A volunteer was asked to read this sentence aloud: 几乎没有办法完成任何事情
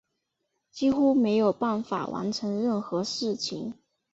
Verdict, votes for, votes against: rejected, 1, 2